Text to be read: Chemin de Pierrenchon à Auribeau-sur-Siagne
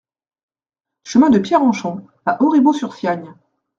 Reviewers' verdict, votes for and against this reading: accepted, 3, 0